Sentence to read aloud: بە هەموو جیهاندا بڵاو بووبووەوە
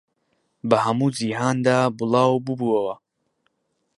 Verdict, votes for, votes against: accepted, 2, 0